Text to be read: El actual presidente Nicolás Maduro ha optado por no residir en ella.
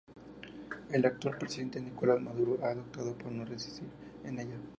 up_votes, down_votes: 2, 0